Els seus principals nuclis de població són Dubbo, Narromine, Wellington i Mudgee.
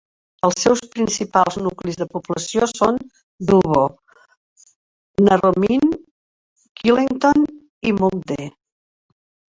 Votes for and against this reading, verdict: 1, 2, rejected